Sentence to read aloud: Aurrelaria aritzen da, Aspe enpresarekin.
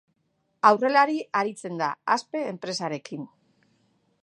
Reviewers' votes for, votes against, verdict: 2, 1, accepted